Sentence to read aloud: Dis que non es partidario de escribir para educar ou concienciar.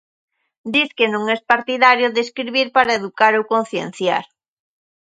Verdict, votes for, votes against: accepted, 2, 0